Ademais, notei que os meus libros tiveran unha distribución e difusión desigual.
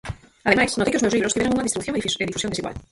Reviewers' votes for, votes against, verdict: 0, 4, rejected